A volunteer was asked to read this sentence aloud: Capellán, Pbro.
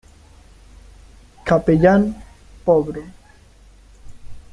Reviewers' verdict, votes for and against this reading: rejected, 1, 2